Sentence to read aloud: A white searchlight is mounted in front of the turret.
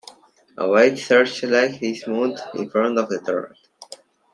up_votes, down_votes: 2, 0